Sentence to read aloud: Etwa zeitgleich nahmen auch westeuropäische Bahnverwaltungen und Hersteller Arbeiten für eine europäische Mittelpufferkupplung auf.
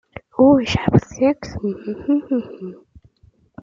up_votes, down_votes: 0, 2